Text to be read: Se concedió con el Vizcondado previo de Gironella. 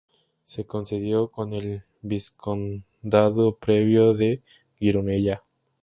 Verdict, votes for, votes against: rejected, 0, 2